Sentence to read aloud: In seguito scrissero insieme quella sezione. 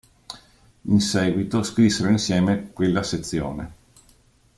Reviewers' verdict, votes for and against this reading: accepted, 2, 0